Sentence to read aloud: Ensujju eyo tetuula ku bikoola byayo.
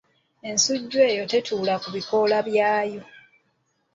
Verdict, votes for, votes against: accepted, 2, 0